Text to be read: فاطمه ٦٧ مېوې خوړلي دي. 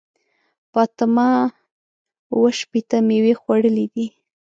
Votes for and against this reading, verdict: 0, 2, rejected